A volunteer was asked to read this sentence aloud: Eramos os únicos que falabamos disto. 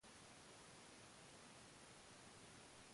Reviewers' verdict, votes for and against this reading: rejected, 0, 2